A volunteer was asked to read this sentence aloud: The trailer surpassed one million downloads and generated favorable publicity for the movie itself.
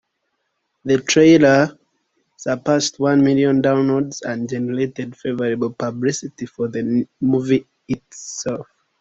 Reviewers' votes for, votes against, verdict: 0, 2, rejected